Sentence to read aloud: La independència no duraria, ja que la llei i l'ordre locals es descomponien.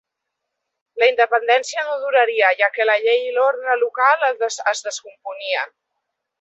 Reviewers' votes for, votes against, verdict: 0, 2, rejected